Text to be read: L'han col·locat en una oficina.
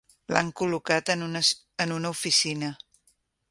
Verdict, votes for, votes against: rejected, 1, 2